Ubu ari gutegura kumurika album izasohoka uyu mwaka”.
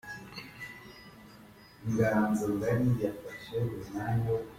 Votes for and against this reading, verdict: 0, 2, rejected